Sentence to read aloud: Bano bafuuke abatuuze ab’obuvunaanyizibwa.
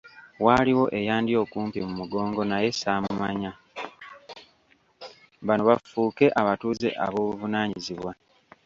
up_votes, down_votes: 0, 2